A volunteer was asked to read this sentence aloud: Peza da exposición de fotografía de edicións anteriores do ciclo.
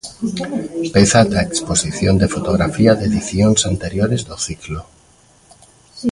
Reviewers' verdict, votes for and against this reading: rejected, 0, 2